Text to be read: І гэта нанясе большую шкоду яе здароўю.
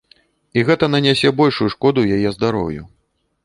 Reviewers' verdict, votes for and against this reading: accepted, 2, 0